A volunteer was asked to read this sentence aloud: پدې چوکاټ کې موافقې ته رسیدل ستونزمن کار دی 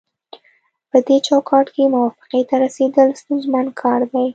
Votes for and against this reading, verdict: 2, 0, accepted